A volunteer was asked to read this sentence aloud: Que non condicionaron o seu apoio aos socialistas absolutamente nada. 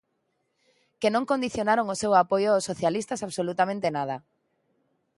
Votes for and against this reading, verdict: 2, 0, accepted